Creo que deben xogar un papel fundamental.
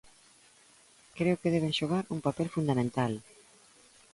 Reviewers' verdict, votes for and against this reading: accepted, 2, 0